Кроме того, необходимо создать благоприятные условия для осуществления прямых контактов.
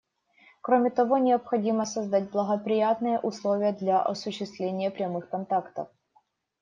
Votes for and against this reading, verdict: 2, 0, accepted